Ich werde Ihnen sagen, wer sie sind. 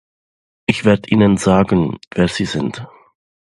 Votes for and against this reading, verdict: 0, 2, rejected